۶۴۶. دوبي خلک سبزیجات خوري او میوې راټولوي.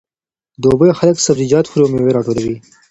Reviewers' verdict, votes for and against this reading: rejected, 0, 2